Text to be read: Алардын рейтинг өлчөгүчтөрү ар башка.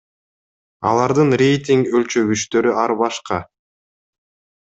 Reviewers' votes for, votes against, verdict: 2, 0, accepted